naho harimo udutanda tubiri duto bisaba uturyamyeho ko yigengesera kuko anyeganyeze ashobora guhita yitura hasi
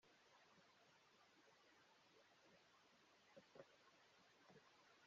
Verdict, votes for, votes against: rejected, 1, 2